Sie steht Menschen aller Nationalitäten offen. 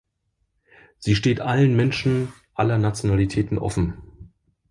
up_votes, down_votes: 1, 2